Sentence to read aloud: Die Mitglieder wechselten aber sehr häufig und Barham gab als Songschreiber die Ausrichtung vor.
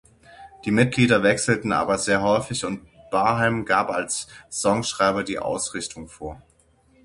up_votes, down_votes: 9, 0